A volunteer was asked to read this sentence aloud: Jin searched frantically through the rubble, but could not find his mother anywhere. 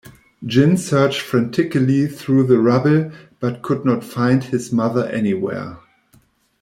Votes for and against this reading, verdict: 1, 2, rejected